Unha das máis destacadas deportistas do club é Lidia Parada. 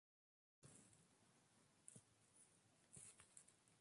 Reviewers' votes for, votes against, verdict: 0, 2, rejected